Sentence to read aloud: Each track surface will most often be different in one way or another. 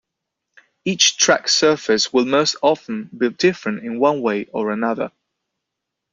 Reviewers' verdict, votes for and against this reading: accepted, 2, 0